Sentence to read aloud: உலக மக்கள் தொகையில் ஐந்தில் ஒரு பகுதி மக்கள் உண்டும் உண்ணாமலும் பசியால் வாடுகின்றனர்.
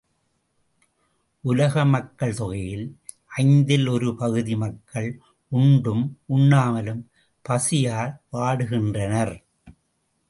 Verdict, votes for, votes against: accepted, 2, 1